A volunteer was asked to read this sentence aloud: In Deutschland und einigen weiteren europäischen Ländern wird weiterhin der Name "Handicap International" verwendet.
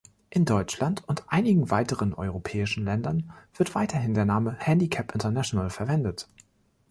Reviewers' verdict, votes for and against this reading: accepted, 2, 0